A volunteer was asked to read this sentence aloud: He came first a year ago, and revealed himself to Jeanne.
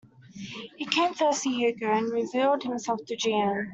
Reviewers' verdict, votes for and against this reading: accepted, 2, 1